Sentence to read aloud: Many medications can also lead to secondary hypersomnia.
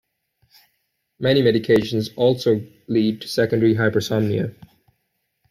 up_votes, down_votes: 1, 2